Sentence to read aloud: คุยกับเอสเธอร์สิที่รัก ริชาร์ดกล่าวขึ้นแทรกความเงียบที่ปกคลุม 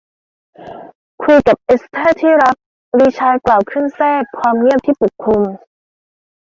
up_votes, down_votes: 1, 2